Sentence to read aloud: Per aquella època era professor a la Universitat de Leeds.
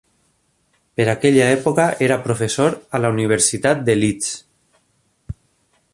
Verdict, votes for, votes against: accepted, 3, 0